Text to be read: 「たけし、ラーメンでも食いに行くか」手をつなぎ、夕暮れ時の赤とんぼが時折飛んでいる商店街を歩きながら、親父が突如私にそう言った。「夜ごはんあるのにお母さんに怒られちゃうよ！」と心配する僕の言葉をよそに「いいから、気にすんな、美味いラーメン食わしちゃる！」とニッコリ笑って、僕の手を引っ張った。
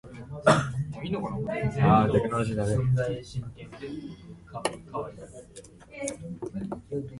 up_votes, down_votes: 0, 2